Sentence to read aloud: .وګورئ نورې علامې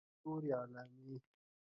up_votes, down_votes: 0, 2